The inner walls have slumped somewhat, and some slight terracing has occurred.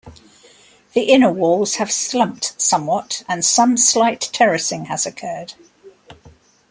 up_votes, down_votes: 2, 0